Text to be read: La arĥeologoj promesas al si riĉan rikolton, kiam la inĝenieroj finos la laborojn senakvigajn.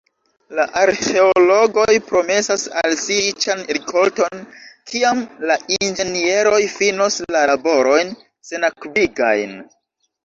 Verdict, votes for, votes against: accepted, 2, 1